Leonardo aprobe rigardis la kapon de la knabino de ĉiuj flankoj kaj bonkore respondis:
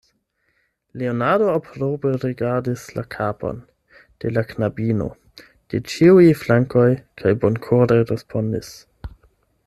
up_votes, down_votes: 8, 4